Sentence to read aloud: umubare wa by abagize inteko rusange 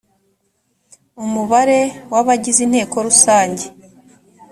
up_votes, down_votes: 2, 1